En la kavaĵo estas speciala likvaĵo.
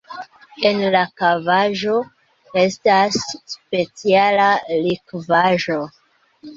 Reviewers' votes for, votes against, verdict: 2, 0, accepted